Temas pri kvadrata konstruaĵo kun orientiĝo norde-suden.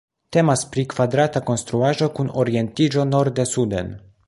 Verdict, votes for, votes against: rejected, 1, 2